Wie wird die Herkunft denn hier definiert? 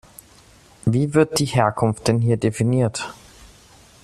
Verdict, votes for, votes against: accepted, 2, 0